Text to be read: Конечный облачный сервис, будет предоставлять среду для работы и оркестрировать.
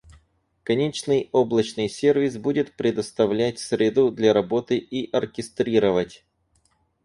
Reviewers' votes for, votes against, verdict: 4, 0, accepted